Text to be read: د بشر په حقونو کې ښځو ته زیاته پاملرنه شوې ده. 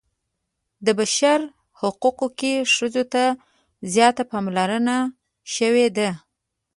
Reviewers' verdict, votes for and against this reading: rejected, 0, 2